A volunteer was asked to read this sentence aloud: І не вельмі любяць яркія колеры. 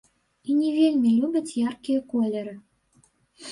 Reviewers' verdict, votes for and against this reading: rejected, 1, 2